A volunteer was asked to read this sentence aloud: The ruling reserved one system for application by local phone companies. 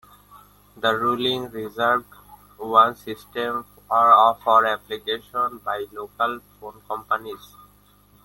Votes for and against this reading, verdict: 0, 2, rejected